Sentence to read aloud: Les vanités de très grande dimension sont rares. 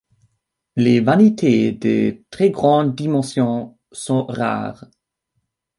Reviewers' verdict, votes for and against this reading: accepted, 2, 1